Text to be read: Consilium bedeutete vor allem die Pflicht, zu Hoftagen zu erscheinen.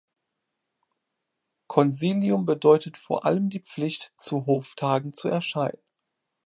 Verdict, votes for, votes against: rejected, 1, 2